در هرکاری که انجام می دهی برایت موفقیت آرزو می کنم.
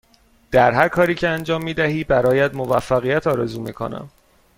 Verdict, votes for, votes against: accepted, 2, 0